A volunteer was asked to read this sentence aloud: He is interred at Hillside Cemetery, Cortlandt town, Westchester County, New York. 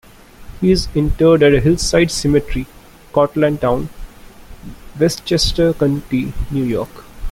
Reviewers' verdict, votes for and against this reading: accepted, 3, 1